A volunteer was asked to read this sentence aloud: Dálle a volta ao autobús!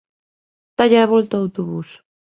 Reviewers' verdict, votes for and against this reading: accepted, 2, 0